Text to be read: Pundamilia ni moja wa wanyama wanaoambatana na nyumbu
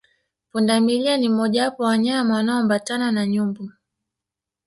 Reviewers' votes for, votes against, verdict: 1, 2, rejected